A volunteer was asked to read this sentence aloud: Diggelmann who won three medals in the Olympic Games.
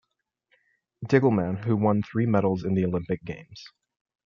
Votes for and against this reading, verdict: 2, 0, accepted